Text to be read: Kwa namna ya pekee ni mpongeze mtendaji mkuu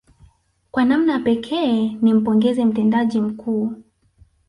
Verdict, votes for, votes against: rejected, 1, 2